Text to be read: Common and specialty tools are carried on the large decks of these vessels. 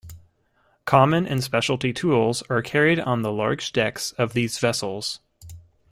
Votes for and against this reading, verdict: 2, 0, accepted